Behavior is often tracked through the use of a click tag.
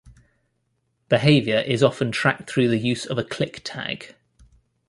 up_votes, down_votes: 2, 0